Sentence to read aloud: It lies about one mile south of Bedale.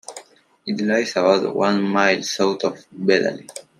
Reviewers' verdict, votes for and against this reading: accepted, 2, 1